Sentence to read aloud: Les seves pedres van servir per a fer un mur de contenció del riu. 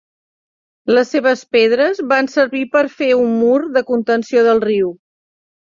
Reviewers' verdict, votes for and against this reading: rejected, 0, 2